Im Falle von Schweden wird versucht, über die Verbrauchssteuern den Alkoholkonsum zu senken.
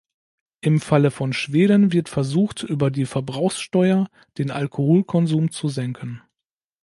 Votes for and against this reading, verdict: 0, 2, rejected